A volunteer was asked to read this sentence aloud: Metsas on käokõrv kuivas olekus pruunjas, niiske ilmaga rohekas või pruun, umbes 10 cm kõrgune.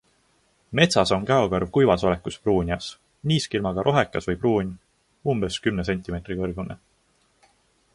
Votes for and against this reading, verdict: 0, 2, rejected